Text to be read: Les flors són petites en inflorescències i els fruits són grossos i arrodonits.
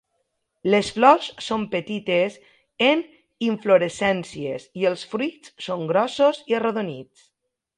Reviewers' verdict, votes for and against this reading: accepted, 2, 0